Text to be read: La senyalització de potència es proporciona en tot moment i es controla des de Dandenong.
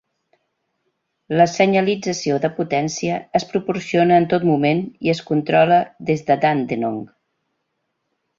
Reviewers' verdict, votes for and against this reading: accepted, 2, 0